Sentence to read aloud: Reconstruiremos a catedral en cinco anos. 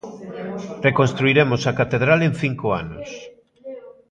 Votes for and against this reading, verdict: 1, 2, rejected